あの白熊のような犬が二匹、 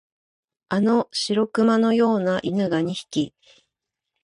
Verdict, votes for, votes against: accepted, 2, 0